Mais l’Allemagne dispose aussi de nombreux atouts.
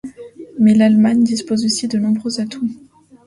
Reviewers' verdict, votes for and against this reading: accepted, 2, 0